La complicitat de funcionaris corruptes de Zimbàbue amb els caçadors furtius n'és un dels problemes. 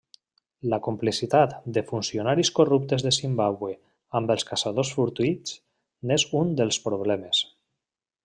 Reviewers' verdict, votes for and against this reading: rejected, 1, 2